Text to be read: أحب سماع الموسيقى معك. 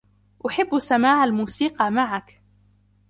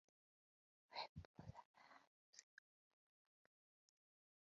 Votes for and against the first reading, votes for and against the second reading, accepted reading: 2, 0, 0, 2, first